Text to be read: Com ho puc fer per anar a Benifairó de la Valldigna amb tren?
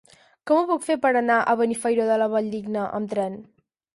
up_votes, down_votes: 4, 0